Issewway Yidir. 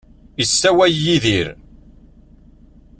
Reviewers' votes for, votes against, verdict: 0, 2, rejected